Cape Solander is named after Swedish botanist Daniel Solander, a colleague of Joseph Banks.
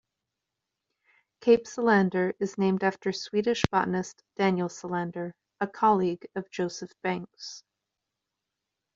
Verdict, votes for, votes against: accepted, 2, 0